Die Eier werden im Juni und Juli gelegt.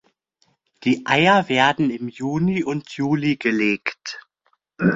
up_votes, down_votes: 2, 0